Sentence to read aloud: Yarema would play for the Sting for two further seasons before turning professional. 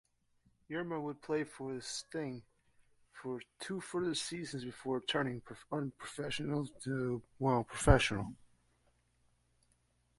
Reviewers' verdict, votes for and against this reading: rejected, 1, 2